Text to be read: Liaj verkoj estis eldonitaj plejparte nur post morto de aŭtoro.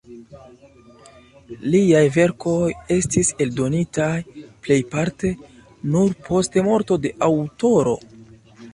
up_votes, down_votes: 2, 0